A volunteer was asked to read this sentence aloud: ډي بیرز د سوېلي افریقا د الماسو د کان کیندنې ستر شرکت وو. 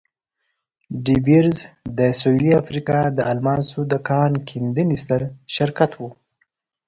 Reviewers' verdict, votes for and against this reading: accepted, 2, 0